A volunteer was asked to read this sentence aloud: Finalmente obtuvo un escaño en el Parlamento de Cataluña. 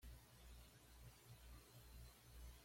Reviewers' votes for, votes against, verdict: 1, 2, rejected